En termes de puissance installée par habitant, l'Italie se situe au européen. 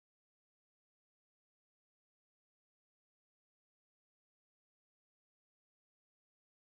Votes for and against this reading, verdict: 0, 4, rejected